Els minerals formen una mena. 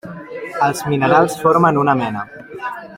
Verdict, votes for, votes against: accepted, 3, 1